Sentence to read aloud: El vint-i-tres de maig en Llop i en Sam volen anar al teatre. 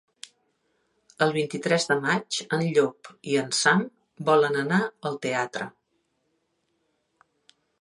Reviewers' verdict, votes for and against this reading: accepted, 4, 0